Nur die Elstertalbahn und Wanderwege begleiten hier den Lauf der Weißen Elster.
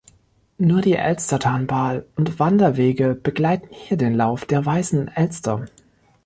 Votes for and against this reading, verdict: 0, 2, rejected